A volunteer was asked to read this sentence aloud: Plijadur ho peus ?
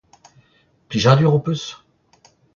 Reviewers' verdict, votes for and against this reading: accepted, 2, 0